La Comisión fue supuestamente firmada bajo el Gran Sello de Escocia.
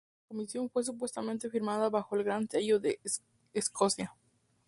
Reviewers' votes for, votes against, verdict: 0, 2, rejected